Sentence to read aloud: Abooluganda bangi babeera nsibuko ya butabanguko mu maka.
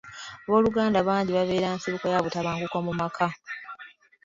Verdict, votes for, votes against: accepted, 2, 0